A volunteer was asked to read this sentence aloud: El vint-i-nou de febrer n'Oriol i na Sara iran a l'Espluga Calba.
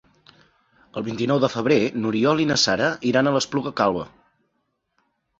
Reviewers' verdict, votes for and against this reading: accepted, 3, 0